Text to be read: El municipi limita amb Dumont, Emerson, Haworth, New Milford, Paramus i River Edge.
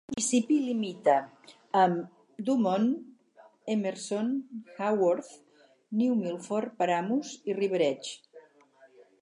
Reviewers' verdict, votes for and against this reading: rejected, 2, 4